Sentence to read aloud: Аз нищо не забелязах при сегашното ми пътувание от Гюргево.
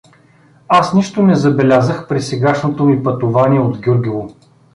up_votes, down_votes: 2, 0